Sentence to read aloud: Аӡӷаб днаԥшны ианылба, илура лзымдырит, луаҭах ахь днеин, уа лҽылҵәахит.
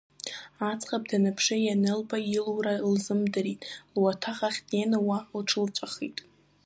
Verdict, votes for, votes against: accepted, 2, 1